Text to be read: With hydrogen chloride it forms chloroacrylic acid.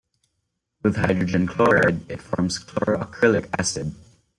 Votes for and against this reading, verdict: 2, 1, accepted